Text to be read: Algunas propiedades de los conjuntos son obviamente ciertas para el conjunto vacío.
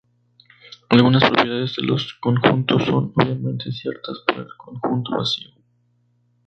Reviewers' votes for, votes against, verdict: 2, 2, rejected